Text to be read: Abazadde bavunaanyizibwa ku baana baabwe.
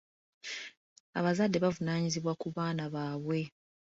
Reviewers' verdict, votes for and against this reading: accepted, 2, 0